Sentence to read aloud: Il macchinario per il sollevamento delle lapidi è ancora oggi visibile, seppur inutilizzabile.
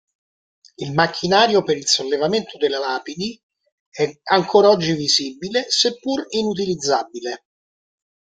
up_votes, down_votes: 1, 2